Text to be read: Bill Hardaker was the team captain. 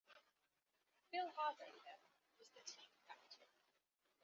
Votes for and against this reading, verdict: 2, 0, accepted